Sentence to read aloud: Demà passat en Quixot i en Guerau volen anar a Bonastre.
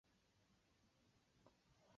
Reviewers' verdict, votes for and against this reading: rejected, 0, 2